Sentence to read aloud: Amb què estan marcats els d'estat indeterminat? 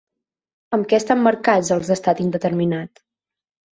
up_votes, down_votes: 6, 0